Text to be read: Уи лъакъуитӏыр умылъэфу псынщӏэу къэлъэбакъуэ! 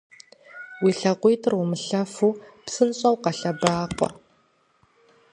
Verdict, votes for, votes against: accepted, 2, 0